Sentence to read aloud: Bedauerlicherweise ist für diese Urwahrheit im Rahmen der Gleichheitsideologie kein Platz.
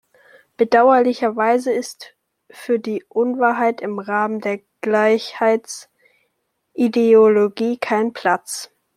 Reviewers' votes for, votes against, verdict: 0, 2, rejected